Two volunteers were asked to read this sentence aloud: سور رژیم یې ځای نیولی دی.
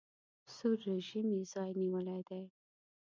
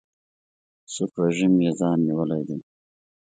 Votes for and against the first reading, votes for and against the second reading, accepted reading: 1, 2, 2, 0, second